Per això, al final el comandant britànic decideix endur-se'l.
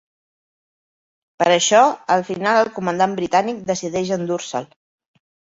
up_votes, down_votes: 2, 1